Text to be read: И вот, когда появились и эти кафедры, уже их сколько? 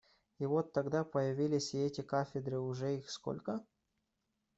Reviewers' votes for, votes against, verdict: 0, 2, rejected